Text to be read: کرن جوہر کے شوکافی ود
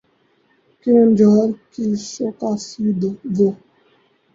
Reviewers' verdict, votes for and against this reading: rejected, 2, 2